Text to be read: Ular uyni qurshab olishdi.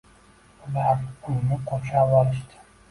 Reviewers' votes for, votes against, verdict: 0, 2, rejected